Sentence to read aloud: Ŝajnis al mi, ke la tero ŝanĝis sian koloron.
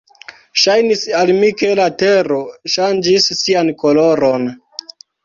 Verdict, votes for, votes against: rejected, 0, 2